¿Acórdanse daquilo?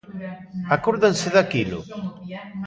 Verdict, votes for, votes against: rejected, 1, 2